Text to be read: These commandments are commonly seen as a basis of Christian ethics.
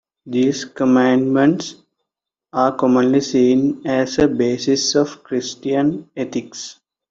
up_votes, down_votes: 2, 0